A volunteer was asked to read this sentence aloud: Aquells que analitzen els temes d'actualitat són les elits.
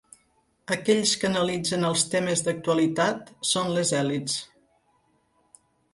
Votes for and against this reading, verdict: 0, 2, rejected